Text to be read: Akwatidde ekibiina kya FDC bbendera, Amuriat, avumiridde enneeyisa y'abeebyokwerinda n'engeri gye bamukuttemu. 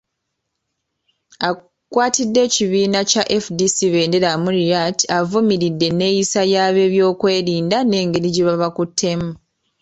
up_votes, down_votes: 1, 2